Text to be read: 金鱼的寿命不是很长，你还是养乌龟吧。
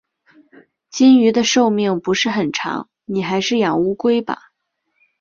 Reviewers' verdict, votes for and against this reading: accepted, 3, 0